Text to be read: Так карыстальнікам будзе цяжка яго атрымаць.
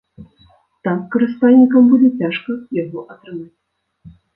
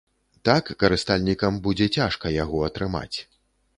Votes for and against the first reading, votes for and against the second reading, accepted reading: 1, 2, 2, 0, second